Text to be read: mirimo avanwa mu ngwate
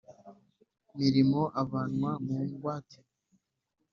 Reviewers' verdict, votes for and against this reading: accepted, 2, 0